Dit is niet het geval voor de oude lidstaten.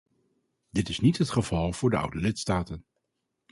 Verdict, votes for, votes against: accepted, 2, 0